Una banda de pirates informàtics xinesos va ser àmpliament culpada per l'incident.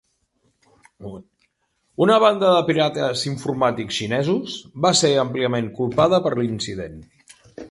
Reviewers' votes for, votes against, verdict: 3, 0, accepted